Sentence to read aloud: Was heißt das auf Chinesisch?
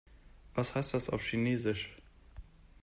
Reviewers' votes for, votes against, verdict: 2, 0, accepted